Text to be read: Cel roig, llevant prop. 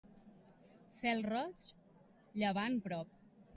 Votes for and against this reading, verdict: 3, 0, accepted